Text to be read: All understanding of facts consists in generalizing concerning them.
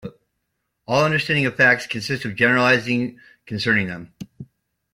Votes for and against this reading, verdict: 2, 0, accepted